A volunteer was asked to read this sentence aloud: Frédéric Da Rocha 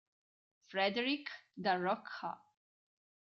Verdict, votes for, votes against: rejected, 2, 3